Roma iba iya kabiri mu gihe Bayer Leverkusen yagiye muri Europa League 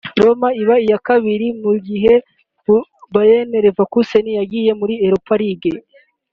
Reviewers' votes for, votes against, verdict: 1, 2, rejected